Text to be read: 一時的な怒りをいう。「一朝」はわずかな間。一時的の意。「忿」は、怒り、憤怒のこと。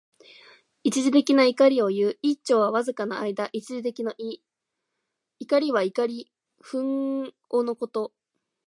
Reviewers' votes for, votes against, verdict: 2, 1, accepted